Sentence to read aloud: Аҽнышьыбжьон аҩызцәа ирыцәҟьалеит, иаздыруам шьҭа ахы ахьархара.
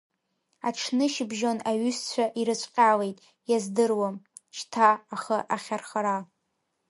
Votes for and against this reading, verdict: 2, 0, accepted